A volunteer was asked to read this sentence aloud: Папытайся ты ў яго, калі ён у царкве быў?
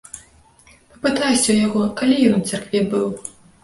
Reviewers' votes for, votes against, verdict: 0, 2, rejected